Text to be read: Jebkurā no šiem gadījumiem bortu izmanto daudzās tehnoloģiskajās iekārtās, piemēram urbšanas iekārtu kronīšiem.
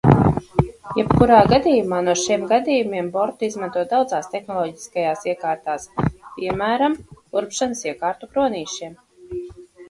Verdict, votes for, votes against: rejected, 0, 2